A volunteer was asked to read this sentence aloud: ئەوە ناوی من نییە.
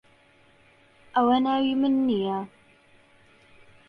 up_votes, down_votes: 2, 0